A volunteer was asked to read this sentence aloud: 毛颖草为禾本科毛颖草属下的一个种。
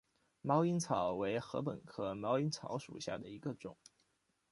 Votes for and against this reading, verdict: 2, 1, accepted